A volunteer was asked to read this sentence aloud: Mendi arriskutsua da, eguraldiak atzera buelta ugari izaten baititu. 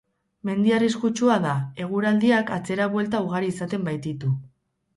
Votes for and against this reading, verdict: 2, 0, accepted